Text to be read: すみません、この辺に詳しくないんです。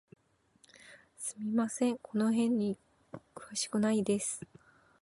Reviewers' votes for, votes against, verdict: 0, 3, rejected